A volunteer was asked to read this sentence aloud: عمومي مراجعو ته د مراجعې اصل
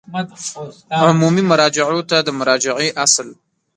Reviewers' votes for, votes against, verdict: 0, 2, rejected